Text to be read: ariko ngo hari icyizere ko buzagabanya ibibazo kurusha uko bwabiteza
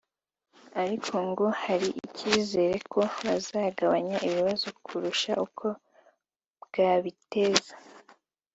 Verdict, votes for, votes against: accepted, 2, 0